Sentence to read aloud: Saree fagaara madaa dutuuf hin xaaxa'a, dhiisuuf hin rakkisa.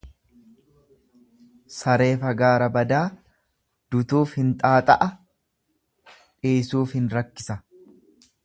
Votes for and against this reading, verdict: 1, 2, rejected